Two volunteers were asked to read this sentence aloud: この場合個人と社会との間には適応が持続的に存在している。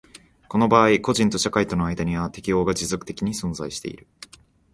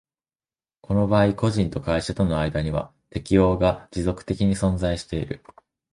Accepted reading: first